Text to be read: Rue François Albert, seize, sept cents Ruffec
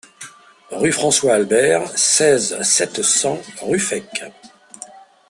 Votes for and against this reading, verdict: 2, 0, accepted